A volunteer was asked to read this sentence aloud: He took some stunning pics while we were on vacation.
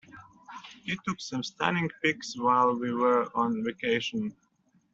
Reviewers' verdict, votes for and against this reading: accepted, 2, 0